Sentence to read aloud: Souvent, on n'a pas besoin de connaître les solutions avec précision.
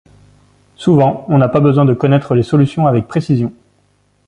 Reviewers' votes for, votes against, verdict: 2, 0, accepted